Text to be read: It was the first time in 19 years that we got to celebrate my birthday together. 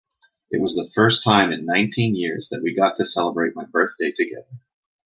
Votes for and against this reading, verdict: 0, 2, rejected